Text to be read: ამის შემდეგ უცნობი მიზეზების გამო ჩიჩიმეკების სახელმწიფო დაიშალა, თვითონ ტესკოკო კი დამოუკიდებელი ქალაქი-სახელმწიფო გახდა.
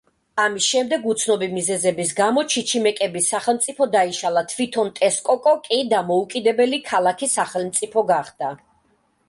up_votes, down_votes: 2, 0